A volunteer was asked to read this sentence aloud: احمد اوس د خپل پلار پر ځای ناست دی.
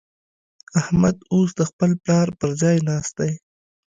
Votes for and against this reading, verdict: 2, 0, accepted